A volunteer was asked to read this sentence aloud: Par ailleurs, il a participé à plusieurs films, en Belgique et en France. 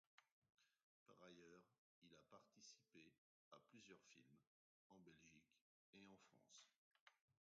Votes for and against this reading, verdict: 0, 2, rejected